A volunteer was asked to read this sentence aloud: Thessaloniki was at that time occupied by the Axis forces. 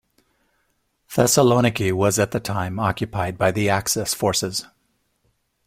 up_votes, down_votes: 2, 1